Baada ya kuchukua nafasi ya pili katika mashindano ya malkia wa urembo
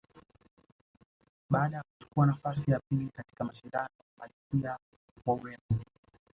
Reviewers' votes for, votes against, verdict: 1, 2, rejected